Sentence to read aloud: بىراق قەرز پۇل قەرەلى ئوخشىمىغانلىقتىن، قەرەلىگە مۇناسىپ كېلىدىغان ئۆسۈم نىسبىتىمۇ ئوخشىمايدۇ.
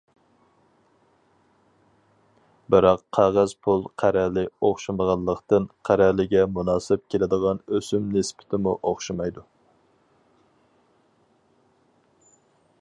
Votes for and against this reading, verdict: 0, 4, rejected